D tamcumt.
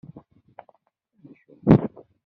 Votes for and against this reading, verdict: 0, 2, rejected